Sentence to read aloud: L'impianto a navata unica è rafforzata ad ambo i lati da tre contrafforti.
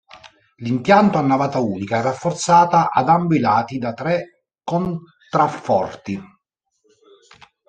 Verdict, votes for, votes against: rejected, 0, 2